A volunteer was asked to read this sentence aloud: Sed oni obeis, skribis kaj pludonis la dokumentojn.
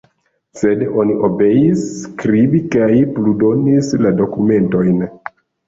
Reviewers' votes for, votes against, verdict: 1, 2, rejected